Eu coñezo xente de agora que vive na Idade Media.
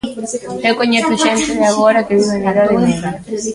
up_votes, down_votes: 0, 2